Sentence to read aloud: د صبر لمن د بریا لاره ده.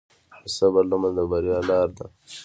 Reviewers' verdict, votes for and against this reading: rejected, 1, 2